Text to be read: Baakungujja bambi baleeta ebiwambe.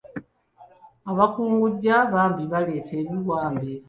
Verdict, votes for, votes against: rejected, 0, 2